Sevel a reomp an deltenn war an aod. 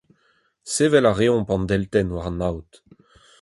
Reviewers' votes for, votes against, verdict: 4, 0, accepted